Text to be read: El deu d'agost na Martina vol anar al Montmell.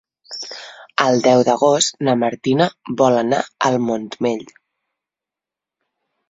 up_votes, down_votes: 3, 0